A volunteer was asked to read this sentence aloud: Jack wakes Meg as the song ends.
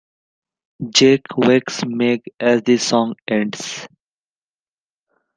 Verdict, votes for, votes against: rejected, 1, 2